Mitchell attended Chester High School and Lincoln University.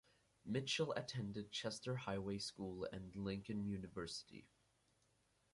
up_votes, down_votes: 0, 4